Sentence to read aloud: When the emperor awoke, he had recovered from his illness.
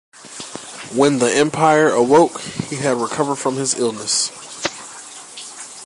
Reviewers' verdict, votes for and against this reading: accepted, 2, 0